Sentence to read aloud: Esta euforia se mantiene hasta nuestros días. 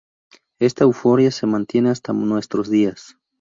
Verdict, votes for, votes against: accepted, 2, 0